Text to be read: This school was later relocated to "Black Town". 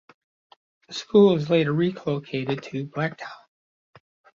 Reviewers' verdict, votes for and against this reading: accepted, 2, 1